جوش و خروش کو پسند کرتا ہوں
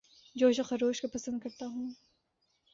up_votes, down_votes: 3, 0